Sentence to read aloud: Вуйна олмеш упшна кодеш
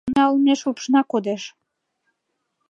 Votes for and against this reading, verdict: 1, 2, rejected